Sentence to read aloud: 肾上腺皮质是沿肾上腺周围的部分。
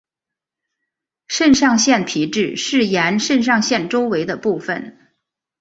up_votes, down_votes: 2, 0